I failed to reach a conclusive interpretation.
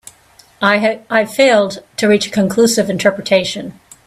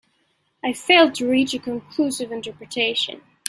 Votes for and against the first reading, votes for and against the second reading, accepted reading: 0, 2, 2, 1, second